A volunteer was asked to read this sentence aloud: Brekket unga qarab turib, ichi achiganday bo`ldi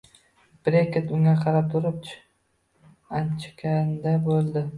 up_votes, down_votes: 0, 2